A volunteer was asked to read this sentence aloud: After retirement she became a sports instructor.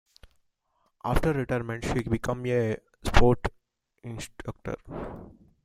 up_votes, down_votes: 1, 2